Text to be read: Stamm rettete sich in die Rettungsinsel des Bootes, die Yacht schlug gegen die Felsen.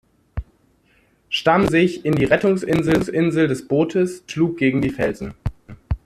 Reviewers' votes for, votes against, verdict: 0, 2, rejected